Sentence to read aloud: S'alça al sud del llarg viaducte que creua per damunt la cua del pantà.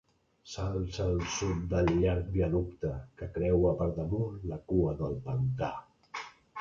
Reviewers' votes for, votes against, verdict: 1, 2, rejected